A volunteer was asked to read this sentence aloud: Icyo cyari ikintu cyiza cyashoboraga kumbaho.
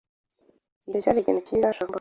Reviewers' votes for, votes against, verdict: 2, 1, accepted